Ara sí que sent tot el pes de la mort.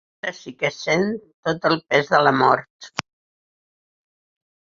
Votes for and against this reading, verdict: 4, 6, rejected